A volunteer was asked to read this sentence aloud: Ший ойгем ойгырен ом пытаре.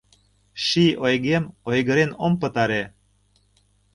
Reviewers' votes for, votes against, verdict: 2, 0, accepted